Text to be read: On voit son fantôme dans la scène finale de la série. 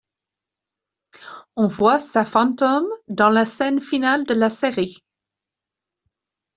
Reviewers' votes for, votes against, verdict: 1, 2, rejected